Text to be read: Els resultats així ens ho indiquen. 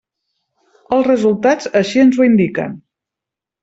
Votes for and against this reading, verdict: 3, 0, accepted